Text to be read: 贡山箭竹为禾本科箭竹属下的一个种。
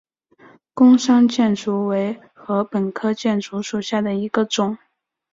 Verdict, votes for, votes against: accepted, 3, 0